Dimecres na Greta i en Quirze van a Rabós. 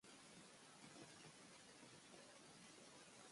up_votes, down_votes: 1, 3